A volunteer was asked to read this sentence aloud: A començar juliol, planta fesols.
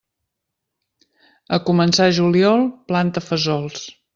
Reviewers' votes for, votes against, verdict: 2, 0, accepted